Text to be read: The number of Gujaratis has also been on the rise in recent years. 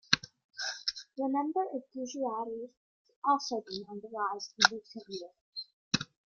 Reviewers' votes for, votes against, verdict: 1, 2, rejected